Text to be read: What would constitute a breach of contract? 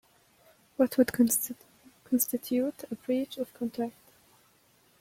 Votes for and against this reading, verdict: 1, 2, rejected